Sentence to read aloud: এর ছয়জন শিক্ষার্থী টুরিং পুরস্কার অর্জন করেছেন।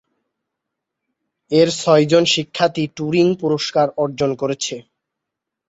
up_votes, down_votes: 0, 2